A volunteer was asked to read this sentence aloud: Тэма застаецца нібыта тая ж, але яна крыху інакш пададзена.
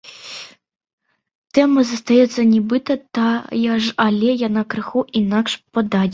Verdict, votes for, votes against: rejected, 1, 2